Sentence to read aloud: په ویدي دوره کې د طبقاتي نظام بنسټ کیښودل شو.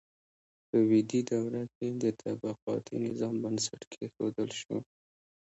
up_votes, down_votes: 0, 2